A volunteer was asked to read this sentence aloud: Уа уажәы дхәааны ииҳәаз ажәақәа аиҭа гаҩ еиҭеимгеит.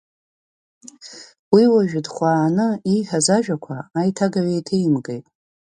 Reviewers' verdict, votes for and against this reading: rejected, 0, 2